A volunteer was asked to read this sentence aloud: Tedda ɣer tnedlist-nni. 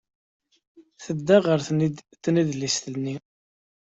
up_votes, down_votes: 2, 0